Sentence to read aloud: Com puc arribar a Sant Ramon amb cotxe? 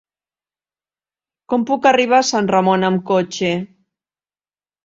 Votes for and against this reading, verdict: 2, 0, accepted